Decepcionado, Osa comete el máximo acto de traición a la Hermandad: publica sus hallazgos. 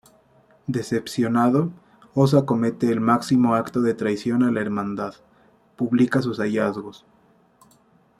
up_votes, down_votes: 2, 0